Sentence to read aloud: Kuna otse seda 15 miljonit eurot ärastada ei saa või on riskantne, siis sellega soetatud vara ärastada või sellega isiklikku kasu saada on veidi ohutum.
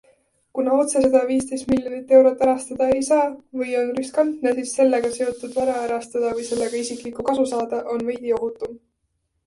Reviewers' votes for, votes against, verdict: 0, 2, rejected